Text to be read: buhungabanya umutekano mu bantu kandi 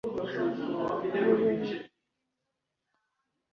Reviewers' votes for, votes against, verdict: 0, 2, rejected